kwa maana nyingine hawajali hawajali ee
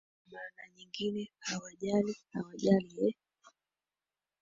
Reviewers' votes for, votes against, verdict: 1, 4, rejected